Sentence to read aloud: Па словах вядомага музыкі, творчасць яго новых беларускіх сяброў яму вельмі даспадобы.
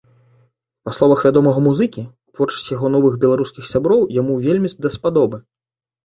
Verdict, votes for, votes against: accepted, 2, 0